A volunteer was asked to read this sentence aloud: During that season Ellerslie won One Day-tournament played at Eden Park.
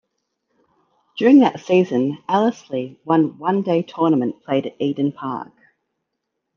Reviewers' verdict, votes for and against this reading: accepted, 2, 0